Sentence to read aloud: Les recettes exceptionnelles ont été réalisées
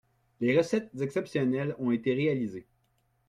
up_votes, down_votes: 1, 2